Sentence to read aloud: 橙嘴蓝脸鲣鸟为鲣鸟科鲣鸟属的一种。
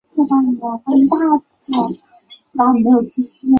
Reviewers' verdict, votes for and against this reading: accepted, 2, 0